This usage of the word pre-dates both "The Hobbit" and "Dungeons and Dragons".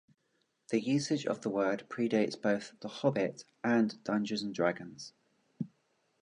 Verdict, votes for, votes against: accepted, 2, 0